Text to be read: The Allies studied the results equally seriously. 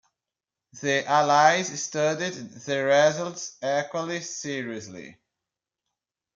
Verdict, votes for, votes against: rejected, 1, 2